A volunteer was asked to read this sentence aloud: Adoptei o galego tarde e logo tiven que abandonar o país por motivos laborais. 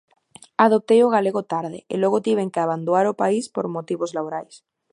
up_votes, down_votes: 0, 2